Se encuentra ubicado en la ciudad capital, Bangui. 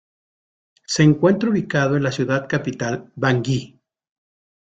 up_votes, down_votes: 2, 0